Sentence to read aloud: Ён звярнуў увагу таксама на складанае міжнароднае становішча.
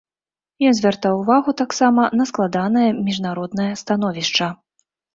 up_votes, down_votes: 1, 2